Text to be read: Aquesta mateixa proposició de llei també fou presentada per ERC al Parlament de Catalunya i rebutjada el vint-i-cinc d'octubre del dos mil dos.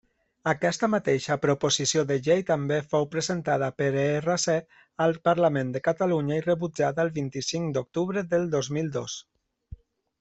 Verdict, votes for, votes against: accepted, 2, 0